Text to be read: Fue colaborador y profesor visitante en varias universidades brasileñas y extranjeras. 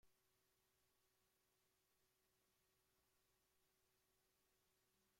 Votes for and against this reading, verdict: 0, 2, rejected